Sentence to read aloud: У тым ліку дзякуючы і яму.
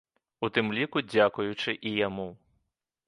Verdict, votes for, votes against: accepted, 3, 0